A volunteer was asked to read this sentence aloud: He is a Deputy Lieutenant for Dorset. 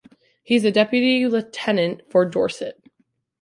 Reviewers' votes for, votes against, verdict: 1, 2, rejected